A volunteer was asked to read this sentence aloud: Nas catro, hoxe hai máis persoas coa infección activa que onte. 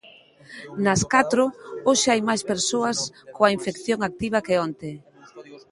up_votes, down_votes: 0, 2